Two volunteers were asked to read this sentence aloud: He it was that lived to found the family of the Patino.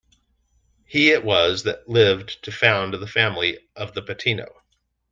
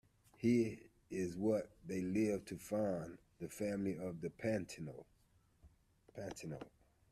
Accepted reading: first